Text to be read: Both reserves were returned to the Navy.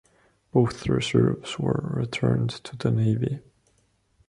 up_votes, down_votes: 2, 0